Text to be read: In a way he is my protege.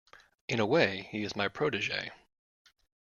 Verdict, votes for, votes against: accepted, 2, 0